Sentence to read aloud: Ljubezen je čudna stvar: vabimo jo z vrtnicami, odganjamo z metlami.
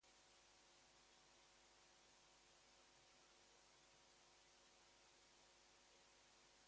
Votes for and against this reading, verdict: 2, 4, rejected